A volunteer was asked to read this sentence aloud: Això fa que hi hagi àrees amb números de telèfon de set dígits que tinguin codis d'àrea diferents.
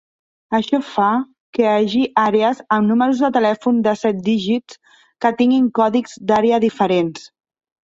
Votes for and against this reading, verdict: 0, 2, rejected